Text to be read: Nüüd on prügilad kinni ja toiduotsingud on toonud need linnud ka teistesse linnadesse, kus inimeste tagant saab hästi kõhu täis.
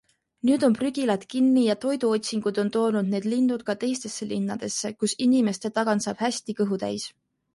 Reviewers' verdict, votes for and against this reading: accepted, 2, 0